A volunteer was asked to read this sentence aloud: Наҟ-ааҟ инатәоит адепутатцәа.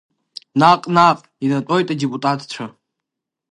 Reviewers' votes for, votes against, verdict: 0, 2, rejected